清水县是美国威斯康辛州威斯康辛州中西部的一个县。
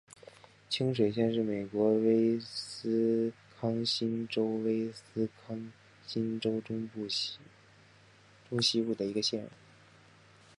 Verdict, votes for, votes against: rejected, 1, 2